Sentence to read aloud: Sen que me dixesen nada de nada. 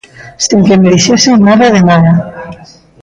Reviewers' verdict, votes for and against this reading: accepted, 2, 0